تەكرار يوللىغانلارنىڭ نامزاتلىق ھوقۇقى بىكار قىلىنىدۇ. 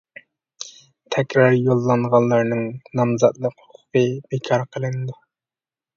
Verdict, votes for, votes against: rejected, 0, 2